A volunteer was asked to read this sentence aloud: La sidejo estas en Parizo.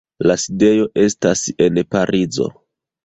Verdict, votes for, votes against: accepted, 2, 1